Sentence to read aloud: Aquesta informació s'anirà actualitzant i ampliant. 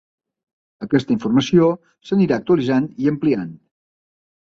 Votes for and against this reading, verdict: 2, 0, accepted